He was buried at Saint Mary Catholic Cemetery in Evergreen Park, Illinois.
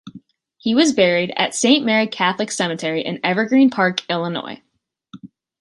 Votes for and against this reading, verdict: 3, 0, accepted